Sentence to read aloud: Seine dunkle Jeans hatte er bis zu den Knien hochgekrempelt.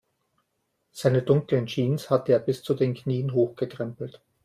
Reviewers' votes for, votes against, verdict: 0, 2, rejected